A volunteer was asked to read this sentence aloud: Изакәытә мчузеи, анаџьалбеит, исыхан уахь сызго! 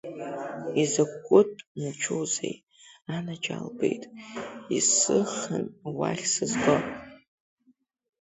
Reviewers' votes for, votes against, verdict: 0, 2, rejected